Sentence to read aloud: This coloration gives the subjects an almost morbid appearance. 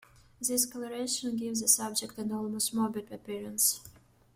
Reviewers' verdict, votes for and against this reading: rejected, 1, 2